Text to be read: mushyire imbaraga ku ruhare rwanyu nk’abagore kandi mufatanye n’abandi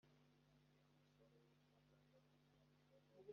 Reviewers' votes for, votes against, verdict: 0, 2, rejected